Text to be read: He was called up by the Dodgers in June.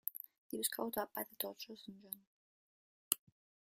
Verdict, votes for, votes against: accepted, 2, 1